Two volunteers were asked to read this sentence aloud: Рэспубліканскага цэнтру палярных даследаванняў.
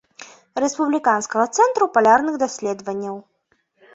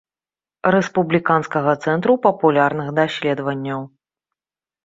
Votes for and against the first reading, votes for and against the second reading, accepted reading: 2, 1, 0, 2, first